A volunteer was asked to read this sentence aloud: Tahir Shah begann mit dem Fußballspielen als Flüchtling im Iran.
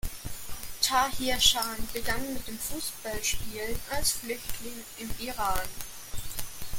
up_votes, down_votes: 2, 1